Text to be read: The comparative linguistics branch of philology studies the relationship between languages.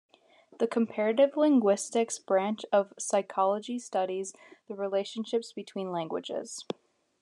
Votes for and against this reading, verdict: 1, 2, rejected